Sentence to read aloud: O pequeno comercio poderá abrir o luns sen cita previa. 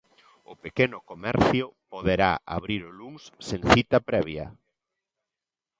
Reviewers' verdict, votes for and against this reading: rejected, 0, 2